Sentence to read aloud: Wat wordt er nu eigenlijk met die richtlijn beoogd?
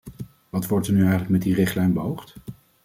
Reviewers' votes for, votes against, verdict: 2, 0, accepted